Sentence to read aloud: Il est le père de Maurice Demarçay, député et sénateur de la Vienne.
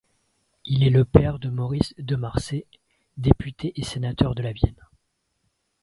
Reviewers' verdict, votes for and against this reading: rejected, 0, 2